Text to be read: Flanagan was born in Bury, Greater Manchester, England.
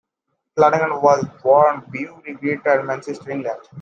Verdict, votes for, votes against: rejected, 0, 2